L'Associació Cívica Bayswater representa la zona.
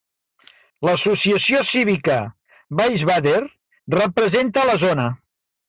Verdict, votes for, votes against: rejected, 2, 3